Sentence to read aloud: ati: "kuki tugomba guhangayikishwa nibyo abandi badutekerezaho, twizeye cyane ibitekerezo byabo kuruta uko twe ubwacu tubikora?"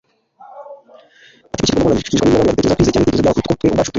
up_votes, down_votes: 1, 2